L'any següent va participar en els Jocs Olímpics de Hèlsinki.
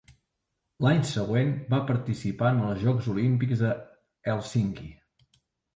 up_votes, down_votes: 3, 0